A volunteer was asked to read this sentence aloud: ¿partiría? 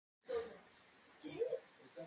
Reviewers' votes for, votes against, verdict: 0, 4, rejected